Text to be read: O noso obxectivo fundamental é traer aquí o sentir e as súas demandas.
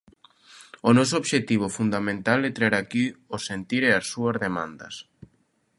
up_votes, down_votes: 2, 0